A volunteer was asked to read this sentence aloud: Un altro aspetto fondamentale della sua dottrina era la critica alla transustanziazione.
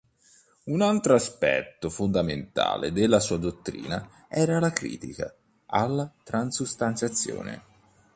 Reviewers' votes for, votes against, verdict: 2, 0, accepted